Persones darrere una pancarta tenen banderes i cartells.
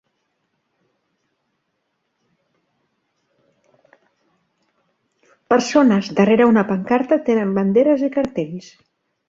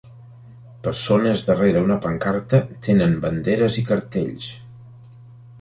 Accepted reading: second